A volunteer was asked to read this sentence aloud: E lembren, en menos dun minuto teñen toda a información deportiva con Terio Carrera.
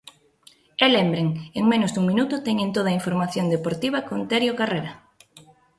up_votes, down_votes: 2, 0